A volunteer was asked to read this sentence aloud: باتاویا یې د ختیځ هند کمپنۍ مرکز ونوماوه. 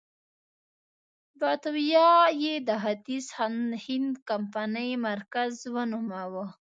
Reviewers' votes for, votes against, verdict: 1, 2, rejected